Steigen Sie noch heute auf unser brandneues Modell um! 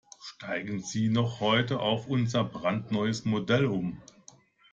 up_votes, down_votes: 2, 0